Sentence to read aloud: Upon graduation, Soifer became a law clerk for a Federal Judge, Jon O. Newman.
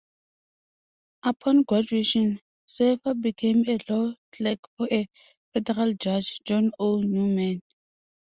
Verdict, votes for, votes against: rejected, 0, 2